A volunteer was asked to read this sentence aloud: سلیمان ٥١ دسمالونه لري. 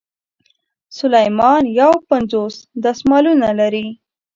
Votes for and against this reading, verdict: 0, 2, rejected